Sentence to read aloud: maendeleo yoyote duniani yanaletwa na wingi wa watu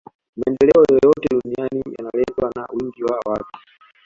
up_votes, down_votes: 0, 2